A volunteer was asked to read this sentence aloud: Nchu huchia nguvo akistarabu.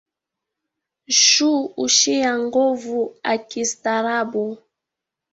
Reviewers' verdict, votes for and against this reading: rejected, 0, 2